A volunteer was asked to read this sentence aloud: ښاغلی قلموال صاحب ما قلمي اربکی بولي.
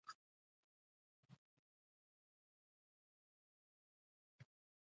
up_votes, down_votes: 0, 2